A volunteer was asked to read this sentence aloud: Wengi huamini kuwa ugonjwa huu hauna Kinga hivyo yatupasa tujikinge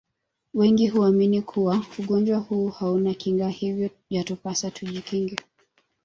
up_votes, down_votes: 1, 2